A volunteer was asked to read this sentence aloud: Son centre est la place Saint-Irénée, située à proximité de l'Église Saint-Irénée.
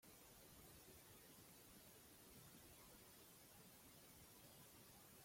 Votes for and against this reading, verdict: 0, 2, rejected